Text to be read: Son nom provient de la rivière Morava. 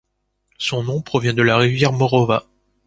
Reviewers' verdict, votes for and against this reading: rejected, 1, 3